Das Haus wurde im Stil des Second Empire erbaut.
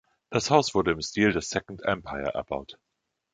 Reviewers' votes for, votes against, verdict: 3, 0, accepted